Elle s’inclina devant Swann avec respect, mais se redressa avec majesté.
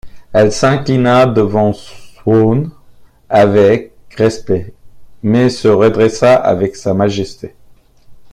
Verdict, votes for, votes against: rejected, 0, 2